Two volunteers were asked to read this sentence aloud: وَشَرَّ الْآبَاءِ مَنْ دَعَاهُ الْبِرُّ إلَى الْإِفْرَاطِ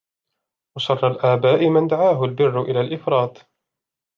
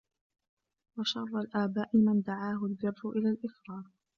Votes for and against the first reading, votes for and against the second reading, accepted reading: 2, 0, 1, 2, first